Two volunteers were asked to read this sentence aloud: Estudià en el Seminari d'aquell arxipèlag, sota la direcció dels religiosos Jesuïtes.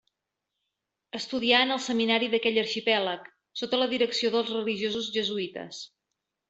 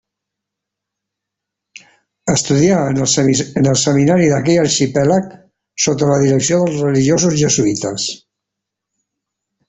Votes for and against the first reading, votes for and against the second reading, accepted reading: 2, 0, 1, 2, first